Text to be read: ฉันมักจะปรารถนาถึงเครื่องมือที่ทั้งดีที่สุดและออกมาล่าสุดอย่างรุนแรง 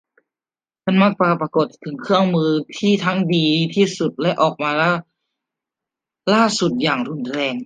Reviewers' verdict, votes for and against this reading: rejected, 0, 2